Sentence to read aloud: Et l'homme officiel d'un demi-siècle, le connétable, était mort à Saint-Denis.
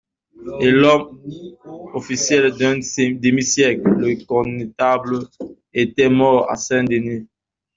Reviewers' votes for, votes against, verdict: 1, 2, rejected